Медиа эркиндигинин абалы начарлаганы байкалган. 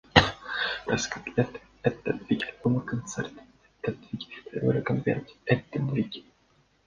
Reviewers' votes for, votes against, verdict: 0, 2, rejected